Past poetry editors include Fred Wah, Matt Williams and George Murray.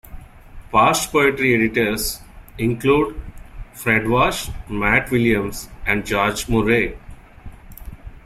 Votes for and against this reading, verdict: 0, 2, rejected